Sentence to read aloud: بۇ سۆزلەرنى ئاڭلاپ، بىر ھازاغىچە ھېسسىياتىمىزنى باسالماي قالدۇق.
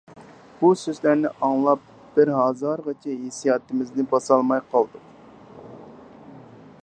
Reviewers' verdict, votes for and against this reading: rejected, 0, 4